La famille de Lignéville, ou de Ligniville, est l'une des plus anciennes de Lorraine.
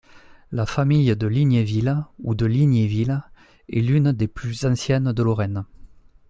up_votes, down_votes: 2, 0